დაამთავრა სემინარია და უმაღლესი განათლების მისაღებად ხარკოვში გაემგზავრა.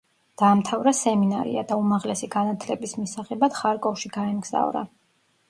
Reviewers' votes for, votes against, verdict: 2, 0, accepted